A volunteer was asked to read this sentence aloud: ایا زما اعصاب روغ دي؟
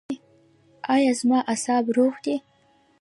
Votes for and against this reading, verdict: 1, 2, rejected